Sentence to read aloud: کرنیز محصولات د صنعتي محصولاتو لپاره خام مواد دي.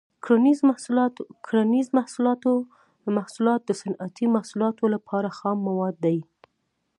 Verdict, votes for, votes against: accepted, 2, 0